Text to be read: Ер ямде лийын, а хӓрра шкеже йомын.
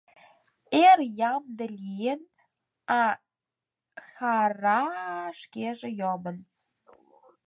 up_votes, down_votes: 4, 0